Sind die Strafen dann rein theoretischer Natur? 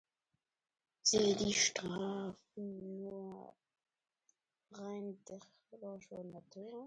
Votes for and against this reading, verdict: 0, 2, rejected